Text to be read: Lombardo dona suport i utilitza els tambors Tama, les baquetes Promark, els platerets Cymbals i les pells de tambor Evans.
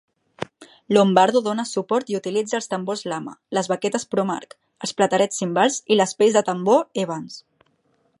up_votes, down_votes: 1, 2